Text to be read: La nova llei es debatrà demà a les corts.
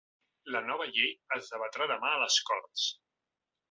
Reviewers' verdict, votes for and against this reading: accepted, 2, 0